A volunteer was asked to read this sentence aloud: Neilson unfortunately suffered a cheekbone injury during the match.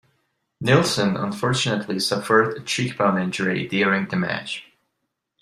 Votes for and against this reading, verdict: 2, 0, accepted